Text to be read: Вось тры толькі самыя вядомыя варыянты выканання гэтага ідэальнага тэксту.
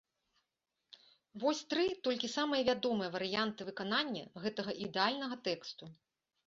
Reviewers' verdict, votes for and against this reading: accepted, 2, 0